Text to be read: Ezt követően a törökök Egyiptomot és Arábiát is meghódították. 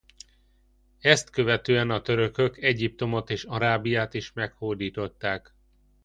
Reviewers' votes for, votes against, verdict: 2, 0, accepted